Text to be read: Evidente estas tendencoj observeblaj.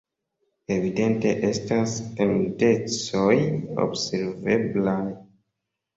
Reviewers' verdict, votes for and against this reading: accepted, 2, 0